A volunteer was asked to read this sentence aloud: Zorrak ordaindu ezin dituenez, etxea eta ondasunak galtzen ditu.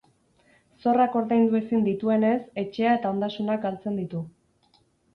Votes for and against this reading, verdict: 4, 0, accepted